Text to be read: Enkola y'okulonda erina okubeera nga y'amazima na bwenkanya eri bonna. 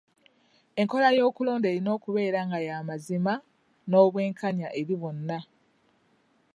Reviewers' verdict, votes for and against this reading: rejected, 0, 2